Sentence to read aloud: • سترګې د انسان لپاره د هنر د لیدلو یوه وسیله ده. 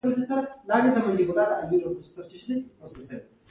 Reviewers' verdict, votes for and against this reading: rejected, 0, 2